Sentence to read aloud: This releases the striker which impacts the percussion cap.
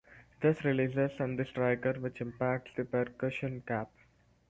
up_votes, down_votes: 0, 4